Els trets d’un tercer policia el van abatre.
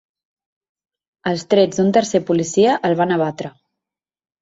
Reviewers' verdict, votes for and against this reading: accepted, 3, 0